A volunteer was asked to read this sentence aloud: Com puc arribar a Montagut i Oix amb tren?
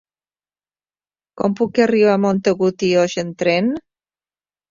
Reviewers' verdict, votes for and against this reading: accepted, 3, 0